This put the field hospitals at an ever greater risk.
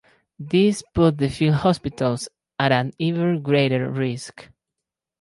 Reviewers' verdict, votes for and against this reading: accepted, 4, 2